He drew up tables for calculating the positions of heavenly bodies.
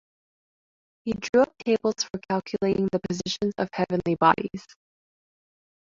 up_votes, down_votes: 1, 2